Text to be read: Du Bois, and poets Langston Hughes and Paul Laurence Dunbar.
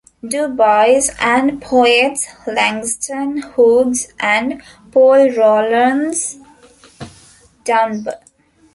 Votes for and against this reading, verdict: 0, 2, rejected